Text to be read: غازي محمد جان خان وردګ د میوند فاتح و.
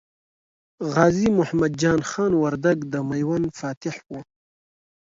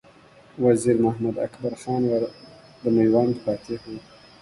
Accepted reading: first